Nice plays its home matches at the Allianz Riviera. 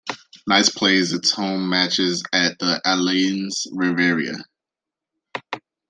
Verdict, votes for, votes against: rejected, 1, 2